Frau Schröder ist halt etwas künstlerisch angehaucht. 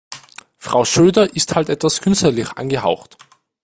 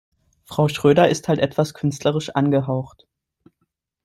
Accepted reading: second